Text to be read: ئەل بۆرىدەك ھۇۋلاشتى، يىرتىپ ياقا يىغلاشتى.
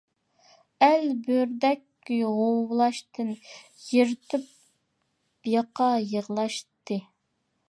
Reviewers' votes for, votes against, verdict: 0, 2, rejected